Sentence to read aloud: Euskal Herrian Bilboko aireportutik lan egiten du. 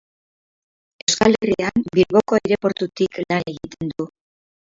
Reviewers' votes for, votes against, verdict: 0, 6, rejected